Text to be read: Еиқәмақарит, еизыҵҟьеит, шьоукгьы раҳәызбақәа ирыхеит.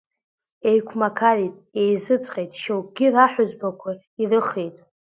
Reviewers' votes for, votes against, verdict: 2, 0, accepted